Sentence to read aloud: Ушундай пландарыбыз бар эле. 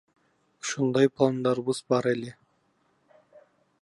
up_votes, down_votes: 0, 2